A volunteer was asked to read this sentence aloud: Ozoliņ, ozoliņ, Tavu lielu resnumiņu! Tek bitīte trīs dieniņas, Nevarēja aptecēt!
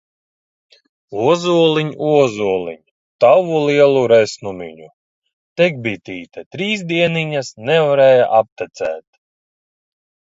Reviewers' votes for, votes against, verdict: 1, 2, rejected